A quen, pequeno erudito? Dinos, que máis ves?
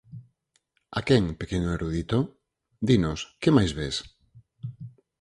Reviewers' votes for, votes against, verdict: 4, 0, accepted